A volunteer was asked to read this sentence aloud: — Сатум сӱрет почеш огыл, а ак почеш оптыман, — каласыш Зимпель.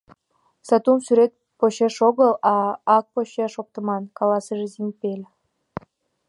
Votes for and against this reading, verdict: 2, 1, accepted